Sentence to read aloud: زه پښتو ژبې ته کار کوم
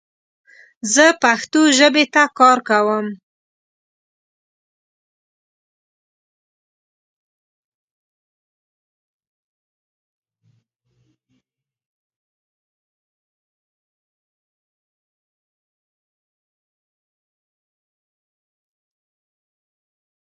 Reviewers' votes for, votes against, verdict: 1, 2, rejected